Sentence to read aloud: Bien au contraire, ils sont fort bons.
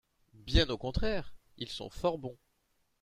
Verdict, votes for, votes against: accepted, 2, 0